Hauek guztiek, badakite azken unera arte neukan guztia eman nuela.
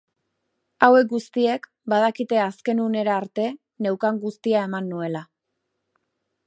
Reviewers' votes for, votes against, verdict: 3, 0, accepted